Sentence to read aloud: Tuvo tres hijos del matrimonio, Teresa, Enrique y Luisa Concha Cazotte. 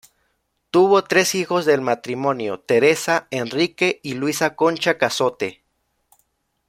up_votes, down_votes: 2, 0